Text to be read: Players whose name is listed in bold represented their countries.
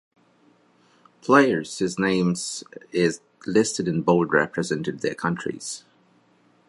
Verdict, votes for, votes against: rejected, 0, 2